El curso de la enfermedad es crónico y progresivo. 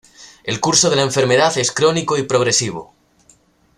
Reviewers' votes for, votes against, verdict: 2, 0, accepted